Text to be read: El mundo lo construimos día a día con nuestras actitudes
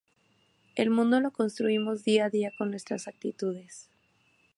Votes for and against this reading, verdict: 4, 0, accepted